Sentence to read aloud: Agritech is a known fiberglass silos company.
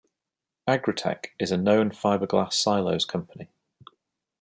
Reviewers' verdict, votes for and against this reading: accepted, 2, 0